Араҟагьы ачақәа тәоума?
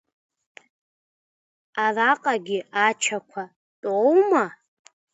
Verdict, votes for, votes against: accepted, 2, 0